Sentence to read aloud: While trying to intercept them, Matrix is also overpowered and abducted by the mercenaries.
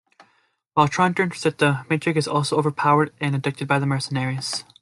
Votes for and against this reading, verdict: 1, 2, rejected